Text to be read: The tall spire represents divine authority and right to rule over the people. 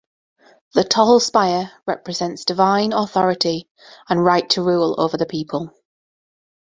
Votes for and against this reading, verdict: 2, 0, accepted